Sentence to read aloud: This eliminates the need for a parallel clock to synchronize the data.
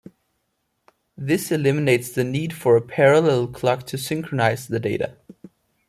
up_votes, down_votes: 2, 0